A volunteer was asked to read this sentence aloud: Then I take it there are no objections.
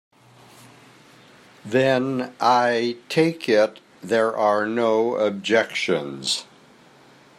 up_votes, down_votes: 2, 1